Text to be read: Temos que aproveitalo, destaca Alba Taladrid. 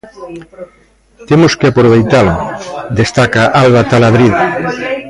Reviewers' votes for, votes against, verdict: 1, 2, rejected